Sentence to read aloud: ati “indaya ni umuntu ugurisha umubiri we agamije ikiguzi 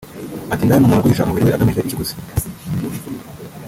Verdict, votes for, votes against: rejected, 0, 2